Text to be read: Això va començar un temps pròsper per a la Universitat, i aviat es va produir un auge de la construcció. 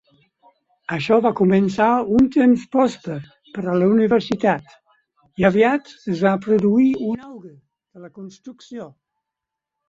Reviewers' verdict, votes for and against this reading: rejected, 2, 4